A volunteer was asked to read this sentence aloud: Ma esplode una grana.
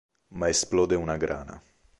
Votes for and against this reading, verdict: 2, 0, accepted